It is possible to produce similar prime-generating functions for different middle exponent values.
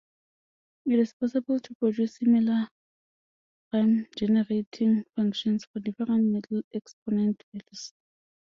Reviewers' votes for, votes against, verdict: 2, 1, accepted